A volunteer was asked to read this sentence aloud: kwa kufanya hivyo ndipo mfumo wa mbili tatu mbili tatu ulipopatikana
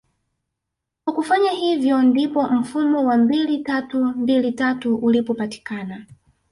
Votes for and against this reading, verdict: 1, 2, rejected